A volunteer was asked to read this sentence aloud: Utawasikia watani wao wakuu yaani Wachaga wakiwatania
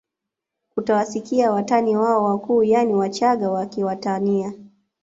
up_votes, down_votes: 2, 0